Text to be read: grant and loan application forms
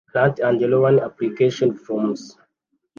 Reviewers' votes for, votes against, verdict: 0, 2, rejected